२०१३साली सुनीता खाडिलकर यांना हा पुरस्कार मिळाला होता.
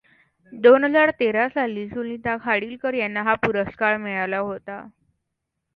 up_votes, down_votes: 0, 2